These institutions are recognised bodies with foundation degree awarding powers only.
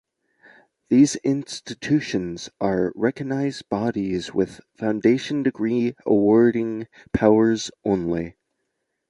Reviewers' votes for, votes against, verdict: 2, 0, accepted